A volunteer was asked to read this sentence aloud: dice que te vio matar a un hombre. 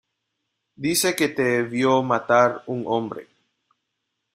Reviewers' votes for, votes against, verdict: 0, 2, rejected